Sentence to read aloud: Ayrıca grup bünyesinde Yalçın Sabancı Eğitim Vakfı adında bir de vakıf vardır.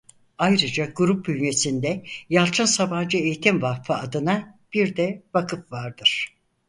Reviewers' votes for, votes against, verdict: 0, 4, rejected